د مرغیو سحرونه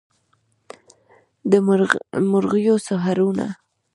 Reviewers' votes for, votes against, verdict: 0, 2, rejected